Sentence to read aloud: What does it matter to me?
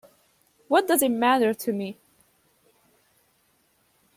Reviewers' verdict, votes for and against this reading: accepted, 2, 0